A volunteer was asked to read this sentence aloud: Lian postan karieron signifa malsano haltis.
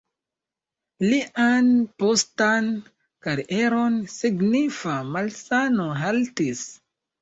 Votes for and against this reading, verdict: 2, 0, accepted